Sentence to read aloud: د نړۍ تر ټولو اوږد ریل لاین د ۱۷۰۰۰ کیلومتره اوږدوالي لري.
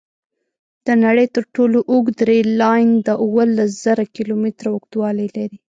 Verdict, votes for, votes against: rejected, 0, 2